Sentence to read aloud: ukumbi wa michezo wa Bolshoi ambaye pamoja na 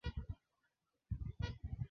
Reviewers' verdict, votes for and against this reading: rejected, 0, 2